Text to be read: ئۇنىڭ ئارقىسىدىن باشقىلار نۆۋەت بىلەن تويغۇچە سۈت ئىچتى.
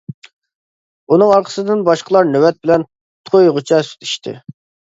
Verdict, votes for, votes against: accepted, 2, 0